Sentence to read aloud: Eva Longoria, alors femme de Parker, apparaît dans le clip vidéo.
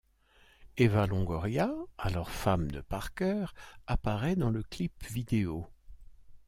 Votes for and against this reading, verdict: 2, 0, accepted